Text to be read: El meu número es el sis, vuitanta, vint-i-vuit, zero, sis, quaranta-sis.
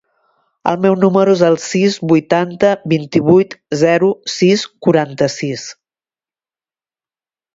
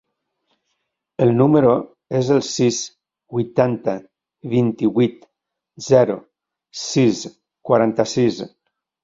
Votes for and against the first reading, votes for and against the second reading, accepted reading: 2, 0, 2, 3, first